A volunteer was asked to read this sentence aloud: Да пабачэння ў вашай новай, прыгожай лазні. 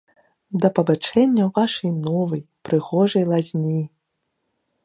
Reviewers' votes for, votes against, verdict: 0, 2, rejected